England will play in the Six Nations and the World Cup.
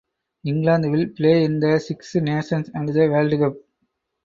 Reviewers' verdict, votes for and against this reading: rejected, 0, 4